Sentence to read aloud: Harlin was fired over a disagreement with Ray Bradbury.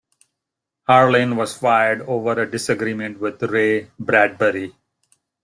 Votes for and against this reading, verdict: 2, 0, accepted